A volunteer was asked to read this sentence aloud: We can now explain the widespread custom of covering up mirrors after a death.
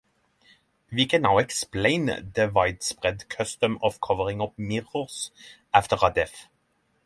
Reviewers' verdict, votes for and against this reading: rejected, 3, 6